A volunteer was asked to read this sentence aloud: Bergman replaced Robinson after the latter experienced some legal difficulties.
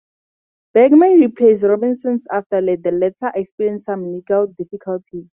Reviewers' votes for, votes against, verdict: 2, 2, rejected